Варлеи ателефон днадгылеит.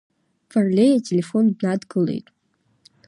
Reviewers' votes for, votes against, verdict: 1, 2, rejected